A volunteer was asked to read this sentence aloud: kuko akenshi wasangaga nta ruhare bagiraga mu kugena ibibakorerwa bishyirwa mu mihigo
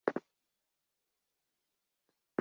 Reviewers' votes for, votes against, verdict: 0, 3, rejected